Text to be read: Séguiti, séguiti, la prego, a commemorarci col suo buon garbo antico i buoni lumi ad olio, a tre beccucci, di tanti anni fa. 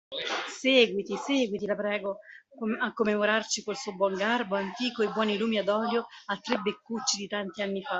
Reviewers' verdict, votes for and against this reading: rejected, 1, 2